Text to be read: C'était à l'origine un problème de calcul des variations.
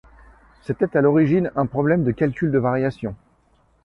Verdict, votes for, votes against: rejected, 1, 2